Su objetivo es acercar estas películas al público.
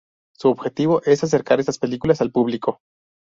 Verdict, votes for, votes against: rejected, 0, 2